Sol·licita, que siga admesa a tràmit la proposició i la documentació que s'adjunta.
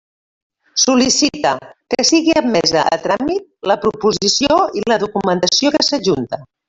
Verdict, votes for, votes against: rejected, 1, 2